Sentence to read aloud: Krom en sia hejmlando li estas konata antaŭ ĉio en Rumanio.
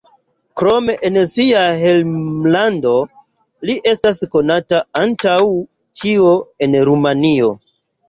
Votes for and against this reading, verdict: 2, 0, accepted